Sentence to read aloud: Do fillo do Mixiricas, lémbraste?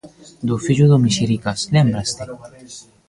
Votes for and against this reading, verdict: 0, 2, rejected